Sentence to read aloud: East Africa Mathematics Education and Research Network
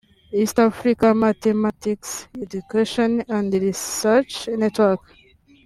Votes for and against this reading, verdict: 0, 2, rejected